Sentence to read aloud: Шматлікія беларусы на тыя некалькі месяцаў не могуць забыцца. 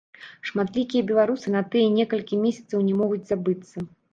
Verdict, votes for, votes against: rejected, 0, 2